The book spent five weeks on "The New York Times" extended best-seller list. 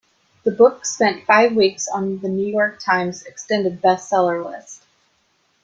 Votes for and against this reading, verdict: 2, 0, accepted